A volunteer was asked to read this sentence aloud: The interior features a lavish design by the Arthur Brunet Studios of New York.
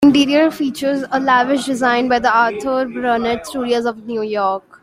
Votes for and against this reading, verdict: 1, 2, rejected